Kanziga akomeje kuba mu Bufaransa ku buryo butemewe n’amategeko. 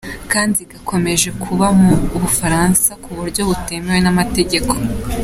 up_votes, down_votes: 2, 0